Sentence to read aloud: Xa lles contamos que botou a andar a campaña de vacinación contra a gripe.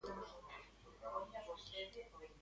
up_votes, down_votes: 0, 2